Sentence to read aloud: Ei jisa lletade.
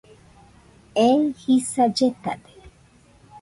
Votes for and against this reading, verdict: 2, 0, accepted